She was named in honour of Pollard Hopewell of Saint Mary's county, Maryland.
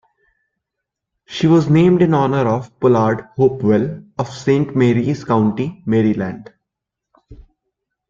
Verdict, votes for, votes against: accepted, 2, 0